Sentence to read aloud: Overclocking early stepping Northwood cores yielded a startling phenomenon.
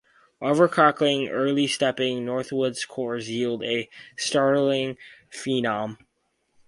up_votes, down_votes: 2, 4